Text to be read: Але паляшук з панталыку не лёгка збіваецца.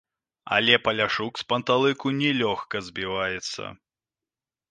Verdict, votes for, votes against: accepted, 2, 0